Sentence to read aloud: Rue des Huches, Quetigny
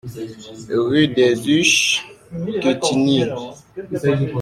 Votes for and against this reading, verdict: 1, 2, rejected